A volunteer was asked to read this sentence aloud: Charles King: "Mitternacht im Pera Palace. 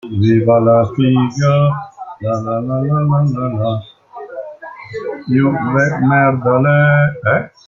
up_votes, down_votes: 0, 2